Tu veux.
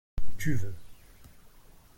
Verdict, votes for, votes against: accepted, 2, 0